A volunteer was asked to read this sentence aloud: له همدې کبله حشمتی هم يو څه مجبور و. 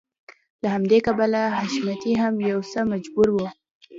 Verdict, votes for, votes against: accepted, 2, 0